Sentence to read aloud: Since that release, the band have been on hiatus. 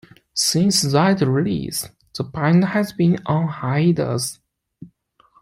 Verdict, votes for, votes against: rejected, 1, 2